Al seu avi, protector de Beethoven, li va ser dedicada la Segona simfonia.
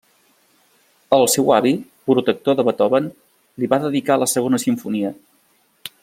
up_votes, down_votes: 0, 2